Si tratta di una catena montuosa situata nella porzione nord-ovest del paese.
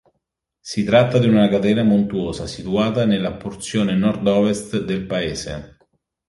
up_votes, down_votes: 3, 0